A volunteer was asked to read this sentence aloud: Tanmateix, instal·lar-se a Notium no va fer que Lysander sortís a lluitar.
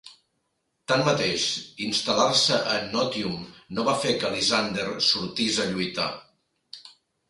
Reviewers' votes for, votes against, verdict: 2, 1, accepted